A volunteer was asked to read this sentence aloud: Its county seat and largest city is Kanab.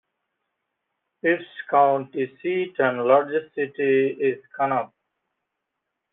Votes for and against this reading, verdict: 0, 2, rejected